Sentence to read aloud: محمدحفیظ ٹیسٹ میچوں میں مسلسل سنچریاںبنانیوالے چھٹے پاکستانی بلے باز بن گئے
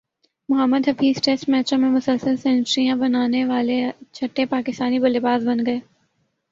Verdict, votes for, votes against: accepted, 2, 0